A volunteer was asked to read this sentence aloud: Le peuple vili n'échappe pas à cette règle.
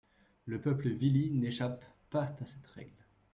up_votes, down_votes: 2, 0